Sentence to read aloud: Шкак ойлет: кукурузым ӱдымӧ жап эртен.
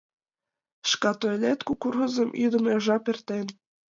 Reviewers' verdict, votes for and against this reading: rejected, 1, 2